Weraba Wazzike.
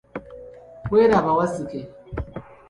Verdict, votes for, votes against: accepted, 3, 0